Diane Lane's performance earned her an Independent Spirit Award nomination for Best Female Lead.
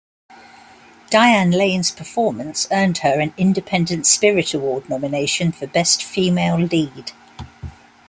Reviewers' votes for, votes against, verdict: 3, 0, accepted